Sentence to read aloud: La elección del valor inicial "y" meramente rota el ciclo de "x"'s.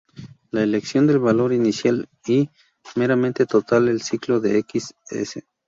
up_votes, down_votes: 0, 4